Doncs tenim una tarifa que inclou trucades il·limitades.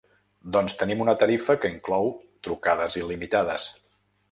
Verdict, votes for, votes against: accepted, 3, 0